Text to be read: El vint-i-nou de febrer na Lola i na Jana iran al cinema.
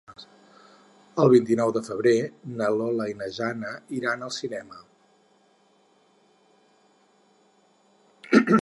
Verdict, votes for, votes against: rejected, 2, 4